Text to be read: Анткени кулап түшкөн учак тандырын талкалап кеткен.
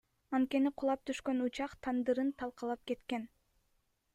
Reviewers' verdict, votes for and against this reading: accepted, 2, 1